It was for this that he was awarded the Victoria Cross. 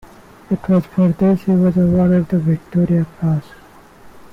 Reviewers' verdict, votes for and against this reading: rejected, 0, 2